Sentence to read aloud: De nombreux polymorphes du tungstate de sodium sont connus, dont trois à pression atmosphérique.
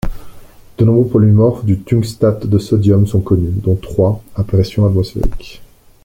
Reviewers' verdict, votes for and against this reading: accepted, 2, 0